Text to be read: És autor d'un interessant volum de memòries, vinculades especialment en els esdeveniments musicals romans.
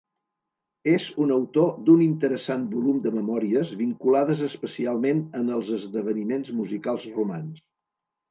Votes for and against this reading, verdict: 1, 2, rejected